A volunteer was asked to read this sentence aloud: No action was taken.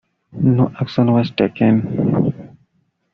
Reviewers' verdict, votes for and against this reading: accepted, 2, 0